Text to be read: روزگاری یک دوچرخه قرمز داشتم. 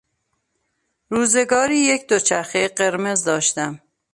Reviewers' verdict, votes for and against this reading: accepted, 2, 0